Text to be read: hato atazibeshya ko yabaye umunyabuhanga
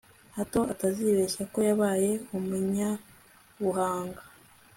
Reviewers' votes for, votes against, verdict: 2, 0, accepted